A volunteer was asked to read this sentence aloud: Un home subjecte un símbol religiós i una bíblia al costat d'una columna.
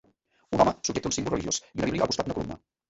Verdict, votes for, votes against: rejected, 0, 2